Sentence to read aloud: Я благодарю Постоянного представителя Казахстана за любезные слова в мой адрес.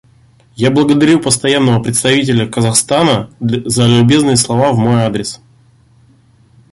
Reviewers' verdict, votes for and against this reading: rejected, 0, 2